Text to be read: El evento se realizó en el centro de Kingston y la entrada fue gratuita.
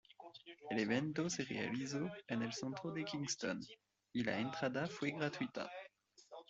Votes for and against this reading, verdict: 1, 2, rejected